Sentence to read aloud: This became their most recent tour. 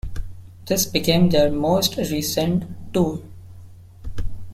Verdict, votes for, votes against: accepted, 2, 0